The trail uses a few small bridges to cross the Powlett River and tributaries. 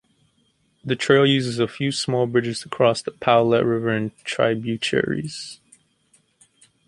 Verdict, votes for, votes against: accepted, 2, 0